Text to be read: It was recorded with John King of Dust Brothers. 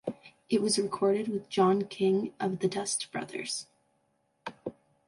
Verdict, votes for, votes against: rejected, 0, 2